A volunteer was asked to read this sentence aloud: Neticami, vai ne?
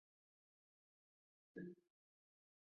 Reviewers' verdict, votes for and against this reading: rejected, 0, 2